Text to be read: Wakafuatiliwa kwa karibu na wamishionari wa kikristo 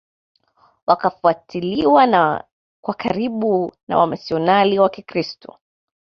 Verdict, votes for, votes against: accepted, 2, 0